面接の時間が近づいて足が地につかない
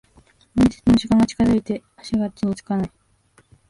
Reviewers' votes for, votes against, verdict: 1, 2, rejected